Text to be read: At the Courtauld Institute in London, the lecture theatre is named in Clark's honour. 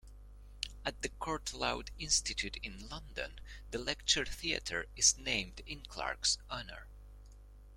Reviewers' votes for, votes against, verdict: 0, 2, rejected